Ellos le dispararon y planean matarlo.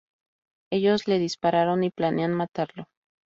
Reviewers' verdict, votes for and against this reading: accepted, 2, 0